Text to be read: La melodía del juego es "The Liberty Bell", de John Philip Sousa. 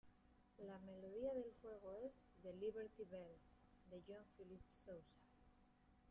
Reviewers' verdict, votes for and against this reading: rejected, 0, 2